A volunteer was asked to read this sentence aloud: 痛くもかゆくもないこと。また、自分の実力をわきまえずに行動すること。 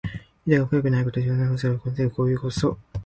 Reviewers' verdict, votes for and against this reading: rejected, 1, 2